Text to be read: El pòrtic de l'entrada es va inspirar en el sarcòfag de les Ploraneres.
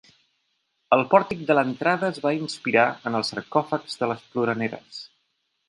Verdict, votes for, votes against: rejected, 0, 3